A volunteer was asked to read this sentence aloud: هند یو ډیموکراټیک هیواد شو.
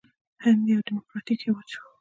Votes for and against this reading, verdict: 2, 0, accepted